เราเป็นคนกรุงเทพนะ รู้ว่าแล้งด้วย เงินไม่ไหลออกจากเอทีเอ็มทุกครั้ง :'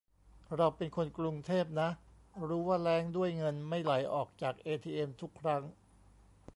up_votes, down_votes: 1, 2